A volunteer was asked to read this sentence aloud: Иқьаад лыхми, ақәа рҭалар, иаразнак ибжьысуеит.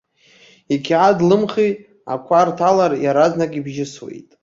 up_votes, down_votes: 3, 1